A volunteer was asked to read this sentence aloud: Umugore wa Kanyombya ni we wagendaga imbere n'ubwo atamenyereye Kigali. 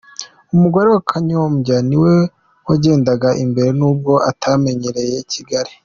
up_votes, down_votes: 3, 0